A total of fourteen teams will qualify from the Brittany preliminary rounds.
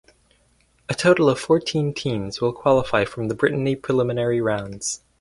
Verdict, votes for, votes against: accepted, 4, 0